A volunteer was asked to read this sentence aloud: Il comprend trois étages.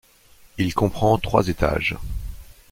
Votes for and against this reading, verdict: 2, 0, accepted